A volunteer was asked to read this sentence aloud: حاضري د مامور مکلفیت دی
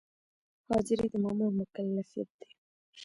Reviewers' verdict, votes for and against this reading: accepted, 2, 0